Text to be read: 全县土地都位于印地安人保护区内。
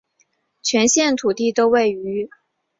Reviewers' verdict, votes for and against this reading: rejected, 1, 2